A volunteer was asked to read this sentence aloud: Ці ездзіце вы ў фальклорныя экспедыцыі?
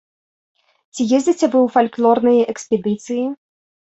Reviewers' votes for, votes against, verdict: 2, 0, accepted